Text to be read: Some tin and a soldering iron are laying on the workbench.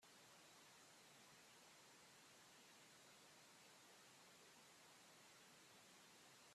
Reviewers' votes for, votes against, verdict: 0, 2, rejected